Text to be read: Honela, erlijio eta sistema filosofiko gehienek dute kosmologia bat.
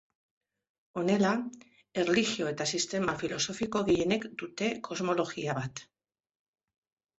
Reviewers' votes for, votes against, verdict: 2, 0, accepted